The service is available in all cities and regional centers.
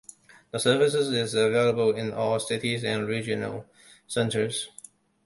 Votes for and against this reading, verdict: 0, 2, rejected